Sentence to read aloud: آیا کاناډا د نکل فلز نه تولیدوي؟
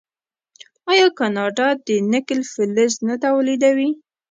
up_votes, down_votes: 2, 0